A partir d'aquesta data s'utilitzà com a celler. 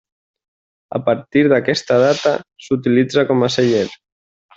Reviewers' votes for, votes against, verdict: 2, 0, accepted